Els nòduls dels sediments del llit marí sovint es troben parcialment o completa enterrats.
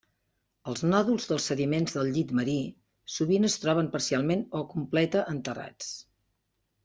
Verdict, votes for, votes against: accepted, 3, 0